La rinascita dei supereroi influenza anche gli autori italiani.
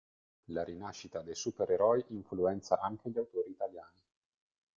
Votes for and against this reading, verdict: 2, 0, accepted